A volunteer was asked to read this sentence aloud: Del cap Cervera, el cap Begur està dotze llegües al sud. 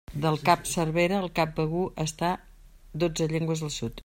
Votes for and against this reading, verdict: 1, 2, rejected